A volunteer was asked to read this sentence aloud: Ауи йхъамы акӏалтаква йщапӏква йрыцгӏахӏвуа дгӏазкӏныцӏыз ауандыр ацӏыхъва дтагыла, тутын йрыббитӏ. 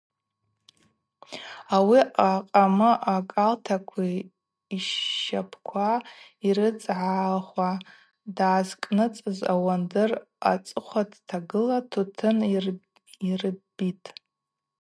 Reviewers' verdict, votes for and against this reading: accepted, 2, 0